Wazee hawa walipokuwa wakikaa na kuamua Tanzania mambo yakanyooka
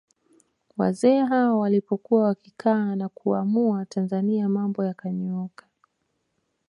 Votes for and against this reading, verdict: 1, 2, rejected